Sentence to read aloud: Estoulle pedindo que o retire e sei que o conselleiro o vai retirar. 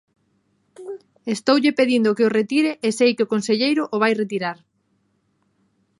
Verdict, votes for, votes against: accepted, 2, 1